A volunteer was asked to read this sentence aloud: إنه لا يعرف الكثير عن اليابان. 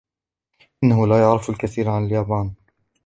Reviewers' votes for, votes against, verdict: 2, 0, accepted